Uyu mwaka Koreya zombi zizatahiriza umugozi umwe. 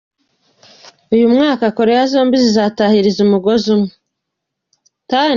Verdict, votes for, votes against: accepted, 2, 1